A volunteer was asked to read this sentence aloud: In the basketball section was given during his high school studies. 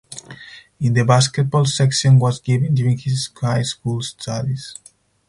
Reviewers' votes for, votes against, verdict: 4, 0, accepted